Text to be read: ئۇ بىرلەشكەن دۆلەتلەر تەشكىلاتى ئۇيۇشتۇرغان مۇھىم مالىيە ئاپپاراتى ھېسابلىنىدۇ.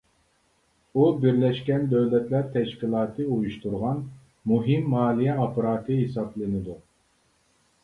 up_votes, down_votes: 3, 0